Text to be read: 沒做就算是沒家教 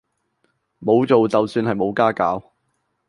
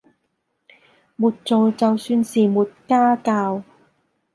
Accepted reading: second